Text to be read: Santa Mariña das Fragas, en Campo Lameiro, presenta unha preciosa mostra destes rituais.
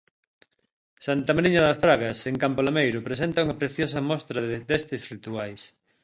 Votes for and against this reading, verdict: 0, 2, rejected